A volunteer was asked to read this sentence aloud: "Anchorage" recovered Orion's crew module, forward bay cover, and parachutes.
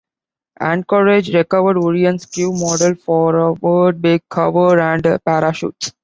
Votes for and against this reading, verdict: 0, 2, rejected